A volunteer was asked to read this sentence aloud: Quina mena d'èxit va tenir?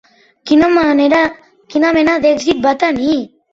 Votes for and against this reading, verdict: 0, 2, rejected